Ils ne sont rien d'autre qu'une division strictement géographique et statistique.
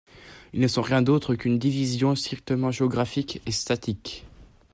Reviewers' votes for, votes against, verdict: 1, 2, rejected